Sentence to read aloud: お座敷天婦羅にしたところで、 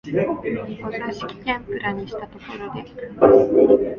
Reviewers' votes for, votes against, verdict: 0, 2, rejected